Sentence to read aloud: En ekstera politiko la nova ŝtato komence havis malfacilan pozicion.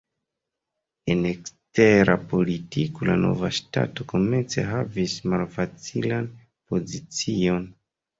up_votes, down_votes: 2, 0